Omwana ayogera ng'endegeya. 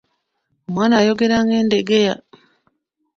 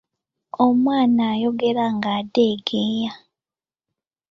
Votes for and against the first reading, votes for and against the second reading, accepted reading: 2, 1, 1, 2, first